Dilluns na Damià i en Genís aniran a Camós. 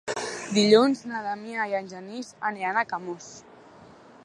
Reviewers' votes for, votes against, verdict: 3, 1, accepted